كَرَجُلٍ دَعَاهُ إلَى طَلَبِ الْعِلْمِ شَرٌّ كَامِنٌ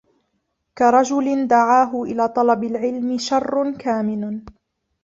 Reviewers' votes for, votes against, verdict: 1, 2, rejected